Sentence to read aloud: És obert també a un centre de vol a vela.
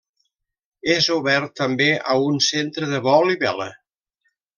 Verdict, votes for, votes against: rejected, 0, 2